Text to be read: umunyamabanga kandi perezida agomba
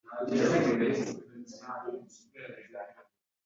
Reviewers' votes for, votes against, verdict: 0, 3, rejected